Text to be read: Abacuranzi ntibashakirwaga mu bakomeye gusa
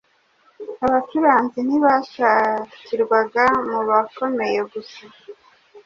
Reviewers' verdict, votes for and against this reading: accepted, 2, 0